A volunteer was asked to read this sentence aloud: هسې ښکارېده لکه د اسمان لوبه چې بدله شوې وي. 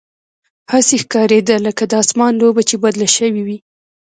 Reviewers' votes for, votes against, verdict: 2, 0, accepted